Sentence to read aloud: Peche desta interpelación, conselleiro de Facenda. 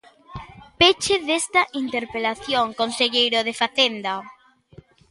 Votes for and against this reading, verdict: 4, 0, accepted